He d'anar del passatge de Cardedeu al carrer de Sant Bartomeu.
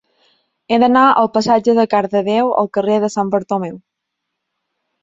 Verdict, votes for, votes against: rejected, 0, 2